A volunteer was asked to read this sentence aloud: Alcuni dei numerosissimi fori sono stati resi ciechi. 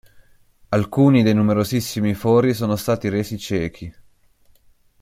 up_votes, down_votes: 2, 0